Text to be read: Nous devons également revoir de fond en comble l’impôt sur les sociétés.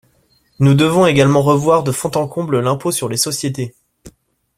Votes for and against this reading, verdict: 2, 0, accepted